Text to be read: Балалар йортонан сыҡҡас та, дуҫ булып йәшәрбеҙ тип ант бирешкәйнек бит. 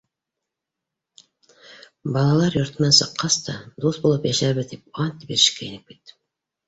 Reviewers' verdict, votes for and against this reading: accepted, 2, 0